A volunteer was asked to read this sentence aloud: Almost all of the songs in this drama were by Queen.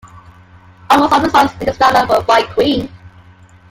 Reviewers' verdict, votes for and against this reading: rejected, 1, 2